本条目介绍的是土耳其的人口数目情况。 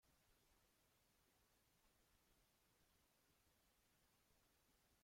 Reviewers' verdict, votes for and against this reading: rejected, 0, 2